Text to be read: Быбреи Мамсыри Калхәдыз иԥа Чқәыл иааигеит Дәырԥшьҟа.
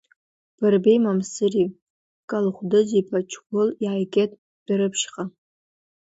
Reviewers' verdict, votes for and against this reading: rejected, 1, 2